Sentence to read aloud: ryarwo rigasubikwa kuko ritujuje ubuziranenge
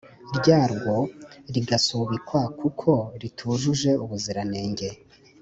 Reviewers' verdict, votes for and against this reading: accepted, 2, 1